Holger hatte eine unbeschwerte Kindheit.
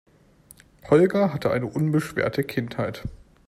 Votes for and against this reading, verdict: 2, 0, accepted